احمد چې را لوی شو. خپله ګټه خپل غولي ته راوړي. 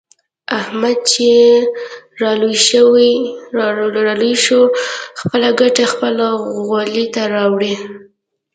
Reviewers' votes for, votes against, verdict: 2, 1, accepted